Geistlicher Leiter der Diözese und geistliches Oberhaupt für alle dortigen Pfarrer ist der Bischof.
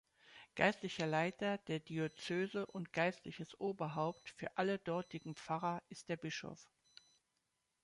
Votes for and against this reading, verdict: 0, 2, rejected